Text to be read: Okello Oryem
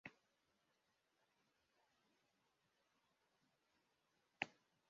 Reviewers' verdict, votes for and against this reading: rejected, 0, 2